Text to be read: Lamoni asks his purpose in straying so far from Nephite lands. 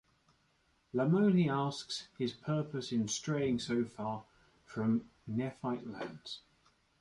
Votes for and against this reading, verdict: 1, 2, rejected